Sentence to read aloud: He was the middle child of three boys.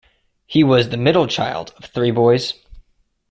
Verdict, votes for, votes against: accepted, 2, 0